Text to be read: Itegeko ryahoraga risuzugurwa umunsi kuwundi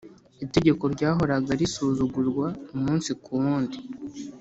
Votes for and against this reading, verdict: 3, 0, accepted